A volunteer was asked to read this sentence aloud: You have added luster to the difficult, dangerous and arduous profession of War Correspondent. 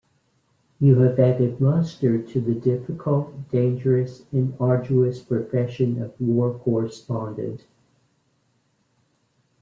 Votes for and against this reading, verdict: 2, 0, accepted